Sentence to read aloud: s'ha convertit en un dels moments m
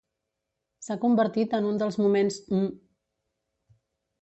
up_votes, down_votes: 1, 2